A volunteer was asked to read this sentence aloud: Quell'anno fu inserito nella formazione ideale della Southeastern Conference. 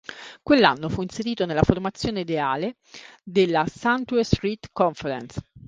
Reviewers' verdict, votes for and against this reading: accepted, 2, 1